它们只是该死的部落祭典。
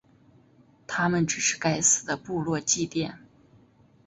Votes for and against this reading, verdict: 2, 0, accepted